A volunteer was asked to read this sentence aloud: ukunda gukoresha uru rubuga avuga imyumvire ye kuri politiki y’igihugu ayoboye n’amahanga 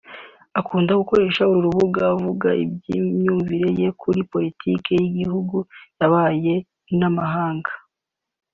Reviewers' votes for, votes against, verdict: 0, 2, rejected